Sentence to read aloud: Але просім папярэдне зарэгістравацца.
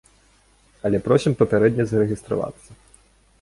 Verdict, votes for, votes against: accepted, 2, 0